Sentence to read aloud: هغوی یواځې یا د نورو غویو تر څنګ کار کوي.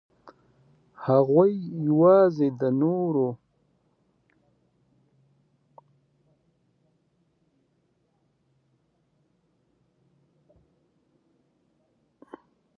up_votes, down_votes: 0, 2